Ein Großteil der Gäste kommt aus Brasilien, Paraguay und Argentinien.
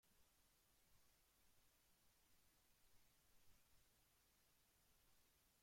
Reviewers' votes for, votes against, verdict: 0, 2, rejected